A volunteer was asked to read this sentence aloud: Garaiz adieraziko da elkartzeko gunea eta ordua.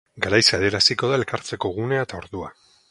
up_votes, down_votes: 2, 2